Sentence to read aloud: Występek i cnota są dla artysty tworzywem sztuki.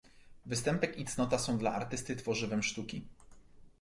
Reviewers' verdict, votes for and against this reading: accepted, 2, 0